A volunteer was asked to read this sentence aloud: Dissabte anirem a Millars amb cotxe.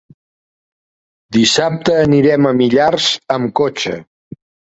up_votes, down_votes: 3, 0